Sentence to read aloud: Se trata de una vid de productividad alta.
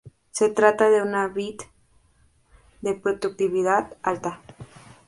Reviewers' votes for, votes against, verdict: 0, 2, rejected